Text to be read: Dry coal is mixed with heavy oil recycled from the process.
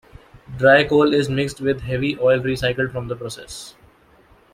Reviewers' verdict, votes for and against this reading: accepted, 2, 1